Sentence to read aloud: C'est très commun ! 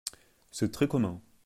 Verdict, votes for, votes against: accepted, 2, 0